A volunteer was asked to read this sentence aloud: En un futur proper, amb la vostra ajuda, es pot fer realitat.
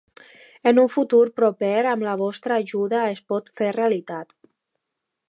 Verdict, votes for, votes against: accepted, 2, 0